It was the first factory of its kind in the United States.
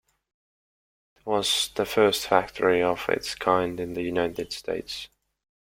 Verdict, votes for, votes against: rejected, 1, 2